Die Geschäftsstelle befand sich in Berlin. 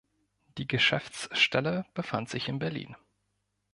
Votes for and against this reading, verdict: 2, 0, accepted